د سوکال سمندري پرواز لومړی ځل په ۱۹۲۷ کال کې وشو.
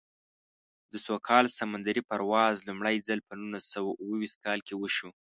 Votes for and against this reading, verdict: 0, 2, rejected